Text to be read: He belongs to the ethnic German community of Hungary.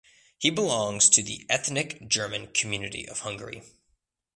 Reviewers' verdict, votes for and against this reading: accepted, 2, 0